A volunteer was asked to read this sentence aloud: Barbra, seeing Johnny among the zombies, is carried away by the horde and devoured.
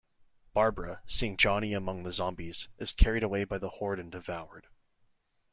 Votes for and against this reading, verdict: 2, 0, accepted